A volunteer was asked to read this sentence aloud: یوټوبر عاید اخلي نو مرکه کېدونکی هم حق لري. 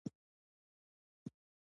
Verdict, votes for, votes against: rejected, 1, 2